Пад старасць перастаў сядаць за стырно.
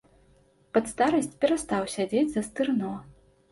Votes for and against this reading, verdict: 0, 2, rejected